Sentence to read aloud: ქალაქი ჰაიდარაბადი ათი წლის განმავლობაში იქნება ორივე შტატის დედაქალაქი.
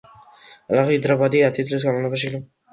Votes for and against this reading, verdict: 0, 2, rejected